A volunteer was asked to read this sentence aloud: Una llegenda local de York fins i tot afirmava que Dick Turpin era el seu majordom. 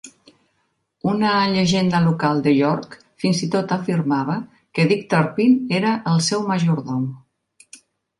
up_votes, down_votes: 2, 0